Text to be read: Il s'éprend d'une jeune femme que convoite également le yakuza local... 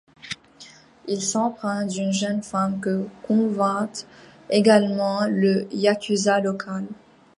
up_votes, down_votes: 1, 2